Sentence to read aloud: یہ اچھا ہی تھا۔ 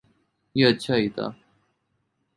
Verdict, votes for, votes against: accepted, 2, 0